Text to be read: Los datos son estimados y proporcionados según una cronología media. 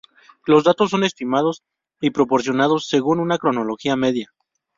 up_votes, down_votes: 2, 0